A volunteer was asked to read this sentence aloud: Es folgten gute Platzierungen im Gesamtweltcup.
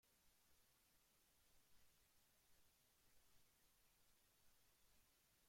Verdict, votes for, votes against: rejected, 0, 2